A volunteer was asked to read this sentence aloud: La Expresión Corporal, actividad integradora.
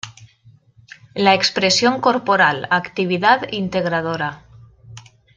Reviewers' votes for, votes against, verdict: 2, 0, accepted